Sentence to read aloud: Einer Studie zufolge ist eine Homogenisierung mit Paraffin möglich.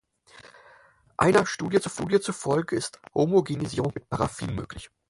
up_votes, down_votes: 0, 4